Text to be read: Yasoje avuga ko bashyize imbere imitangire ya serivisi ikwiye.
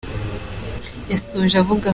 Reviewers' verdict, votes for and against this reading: rejected, 0, 2